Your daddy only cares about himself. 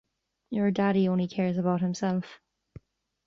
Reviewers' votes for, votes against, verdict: 2, 0, accepted